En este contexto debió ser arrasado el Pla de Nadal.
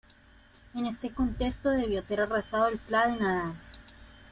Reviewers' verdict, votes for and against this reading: rejected, 1, 2